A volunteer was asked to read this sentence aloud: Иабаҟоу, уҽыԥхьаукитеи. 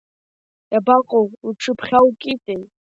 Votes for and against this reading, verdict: 2, 0, accepted